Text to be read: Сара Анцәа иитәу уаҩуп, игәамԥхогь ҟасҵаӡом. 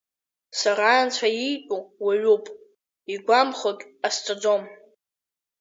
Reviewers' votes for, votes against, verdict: 1, 2, rejected